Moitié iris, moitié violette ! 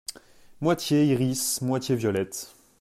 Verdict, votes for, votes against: accepted, 2, 0